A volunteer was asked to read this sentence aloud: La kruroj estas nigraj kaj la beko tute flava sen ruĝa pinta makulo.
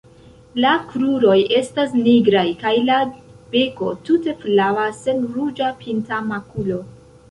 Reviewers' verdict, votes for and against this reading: accepted, 2, 0